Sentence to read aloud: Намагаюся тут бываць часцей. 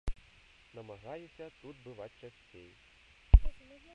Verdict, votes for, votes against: rejected, 1, 2